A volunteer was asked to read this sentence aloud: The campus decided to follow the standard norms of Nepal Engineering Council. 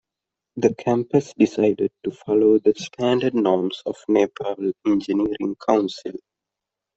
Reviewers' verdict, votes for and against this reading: accepted, 2, 1